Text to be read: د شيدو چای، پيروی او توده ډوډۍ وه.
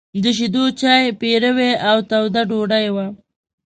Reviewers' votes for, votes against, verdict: 2, 0, accepted